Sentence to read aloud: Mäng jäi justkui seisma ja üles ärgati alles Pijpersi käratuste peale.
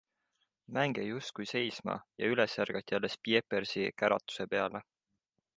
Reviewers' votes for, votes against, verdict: 0, 2, rejected